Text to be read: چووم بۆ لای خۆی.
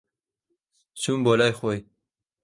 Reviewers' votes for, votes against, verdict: 2, 0, accepted